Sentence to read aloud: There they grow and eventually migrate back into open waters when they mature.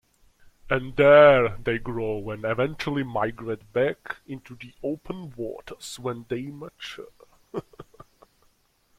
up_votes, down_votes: 1, 2